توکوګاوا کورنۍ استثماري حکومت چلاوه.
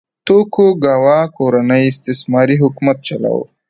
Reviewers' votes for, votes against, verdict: 2, 1, accepted